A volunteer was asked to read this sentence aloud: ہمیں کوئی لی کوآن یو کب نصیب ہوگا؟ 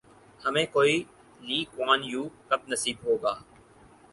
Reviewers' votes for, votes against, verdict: 4, 0, accepted